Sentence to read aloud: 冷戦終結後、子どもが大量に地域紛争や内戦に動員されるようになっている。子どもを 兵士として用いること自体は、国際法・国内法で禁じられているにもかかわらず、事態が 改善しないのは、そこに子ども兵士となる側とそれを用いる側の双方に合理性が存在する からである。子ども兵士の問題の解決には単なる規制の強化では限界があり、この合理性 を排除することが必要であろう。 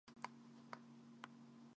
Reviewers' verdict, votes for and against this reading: rejected, 1, 2